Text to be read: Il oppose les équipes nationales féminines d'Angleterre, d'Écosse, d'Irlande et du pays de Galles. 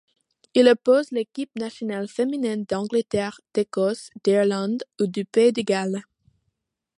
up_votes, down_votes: 2, 0